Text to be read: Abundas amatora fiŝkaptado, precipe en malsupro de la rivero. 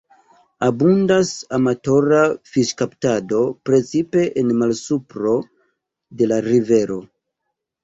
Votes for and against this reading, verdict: 2, 0, accepted